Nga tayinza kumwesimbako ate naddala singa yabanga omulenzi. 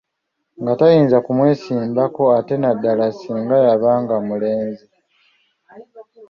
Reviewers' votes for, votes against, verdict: 2, 0, accepted